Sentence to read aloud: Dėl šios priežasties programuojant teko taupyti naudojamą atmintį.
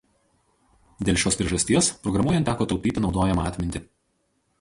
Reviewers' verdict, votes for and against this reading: rejected, 0, 2